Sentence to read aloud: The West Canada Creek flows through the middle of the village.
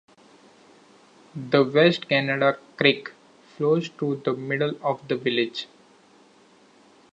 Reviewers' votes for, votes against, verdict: 2, 0, accepted